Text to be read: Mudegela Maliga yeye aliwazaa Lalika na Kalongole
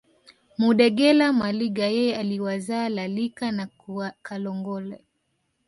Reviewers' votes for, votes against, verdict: 3, 1, accepted